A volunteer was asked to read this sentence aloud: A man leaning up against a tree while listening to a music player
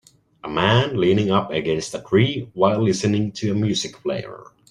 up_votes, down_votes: 2, 0